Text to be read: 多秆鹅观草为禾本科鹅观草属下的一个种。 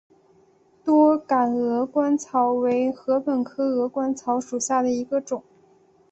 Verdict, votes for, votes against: accepted, 4, 0